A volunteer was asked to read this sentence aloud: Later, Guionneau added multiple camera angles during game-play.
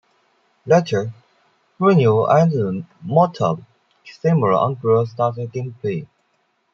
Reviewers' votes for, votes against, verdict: 2, 0, accepted